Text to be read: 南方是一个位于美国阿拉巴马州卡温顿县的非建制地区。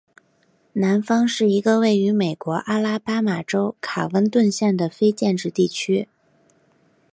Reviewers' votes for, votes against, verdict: 3, 0, accepted